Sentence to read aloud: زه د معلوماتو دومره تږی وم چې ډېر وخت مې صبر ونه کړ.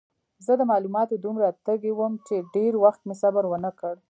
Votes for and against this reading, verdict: 2, 0, accepted